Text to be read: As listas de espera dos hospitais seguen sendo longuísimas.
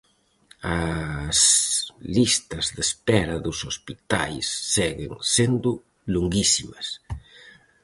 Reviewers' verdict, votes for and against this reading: rejected, 2, 2